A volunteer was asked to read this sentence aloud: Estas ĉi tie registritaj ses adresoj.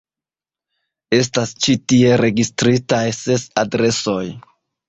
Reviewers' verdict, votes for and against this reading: accepted, 2, 0